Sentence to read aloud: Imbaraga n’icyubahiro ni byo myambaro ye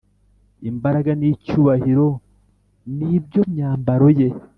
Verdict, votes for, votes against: accepted, 2, 0